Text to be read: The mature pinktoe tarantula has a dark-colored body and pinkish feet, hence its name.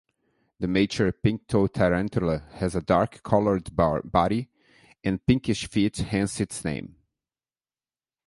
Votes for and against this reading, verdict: 1, 3, rejected